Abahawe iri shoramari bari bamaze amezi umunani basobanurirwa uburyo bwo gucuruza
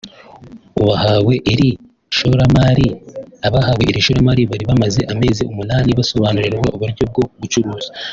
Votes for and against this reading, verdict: 1, 2, rejected